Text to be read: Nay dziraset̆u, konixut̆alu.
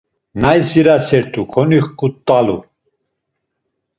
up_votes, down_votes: 2, 0